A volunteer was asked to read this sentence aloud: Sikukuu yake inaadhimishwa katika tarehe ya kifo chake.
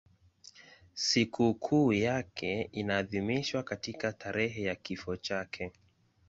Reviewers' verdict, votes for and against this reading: accepted, 2, 0